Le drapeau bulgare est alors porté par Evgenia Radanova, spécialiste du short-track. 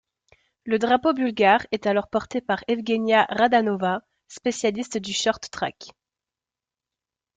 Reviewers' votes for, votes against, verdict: 2, 0, accepted